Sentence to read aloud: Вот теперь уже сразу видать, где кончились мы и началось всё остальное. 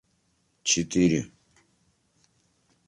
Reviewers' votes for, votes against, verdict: 0, 2, rejected